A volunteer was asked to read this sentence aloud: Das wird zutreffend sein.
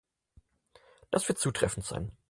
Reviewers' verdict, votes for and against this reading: accepted, 4, 0